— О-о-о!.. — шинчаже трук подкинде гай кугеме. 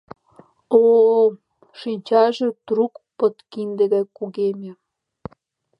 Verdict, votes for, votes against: accepted, 2, 0